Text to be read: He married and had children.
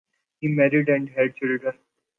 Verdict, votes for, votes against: accepted, 2, 0